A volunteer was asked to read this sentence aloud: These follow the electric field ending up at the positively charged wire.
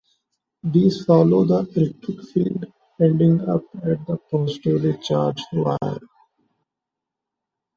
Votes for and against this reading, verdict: 2, 0, accepted